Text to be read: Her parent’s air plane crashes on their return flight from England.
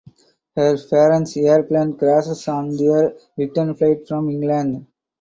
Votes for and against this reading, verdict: 2, 0, accepted